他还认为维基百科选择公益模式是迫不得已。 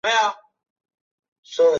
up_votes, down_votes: 0, 3